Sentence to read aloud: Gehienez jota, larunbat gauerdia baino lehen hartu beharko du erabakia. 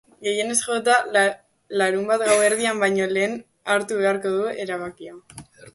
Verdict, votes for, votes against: rejected, 1, 2